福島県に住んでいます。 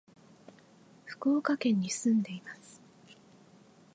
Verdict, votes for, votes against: rejected, 1, 2